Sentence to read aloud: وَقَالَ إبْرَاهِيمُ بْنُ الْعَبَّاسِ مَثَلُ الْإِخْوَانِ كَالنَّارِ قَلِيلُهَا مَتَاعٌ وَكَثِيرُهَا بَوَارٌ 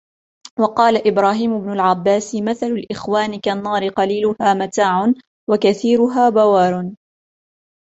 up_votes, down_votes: 0, 2